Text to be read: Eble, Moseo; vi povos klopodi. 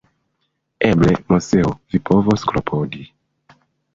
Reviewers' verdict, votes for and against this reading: rejected, 1, 2